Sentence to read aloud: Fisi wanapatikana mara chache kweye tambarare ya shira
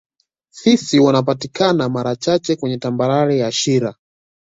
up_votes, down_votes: 2, 0